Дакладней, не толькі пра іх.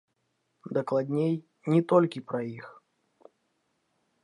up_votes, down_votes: 1, 2